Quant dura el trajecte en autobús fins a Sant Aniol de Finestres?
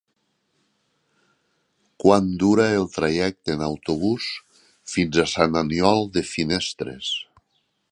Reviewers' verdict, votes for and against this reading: accepted, 3, 0